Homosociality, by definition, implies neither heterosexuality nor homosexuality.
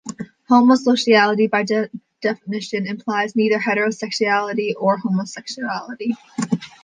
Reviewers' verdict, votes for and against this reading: rejected, 2, 3